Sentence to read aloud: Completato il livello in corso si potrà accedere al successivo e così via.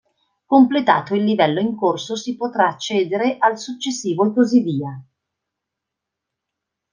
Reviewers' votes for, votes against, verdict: 2, 0, accepted